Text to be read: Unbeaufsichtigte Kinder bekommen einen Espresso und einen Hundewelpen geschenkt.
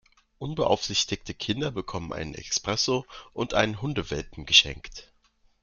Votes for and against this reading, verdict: 1, 2, rejected